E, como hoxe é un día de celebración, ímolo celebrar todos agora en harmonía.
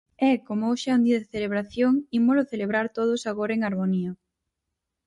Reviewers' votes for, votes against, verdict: 4, 0, accepted